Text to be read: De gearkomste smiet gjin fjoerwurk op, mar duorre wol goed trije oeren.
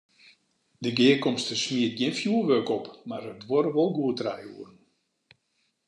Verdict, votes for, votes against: rejected, 0, 2